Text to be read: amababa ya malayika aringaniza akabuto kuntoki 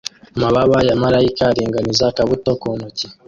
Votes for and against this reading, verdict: 0, 2, rejected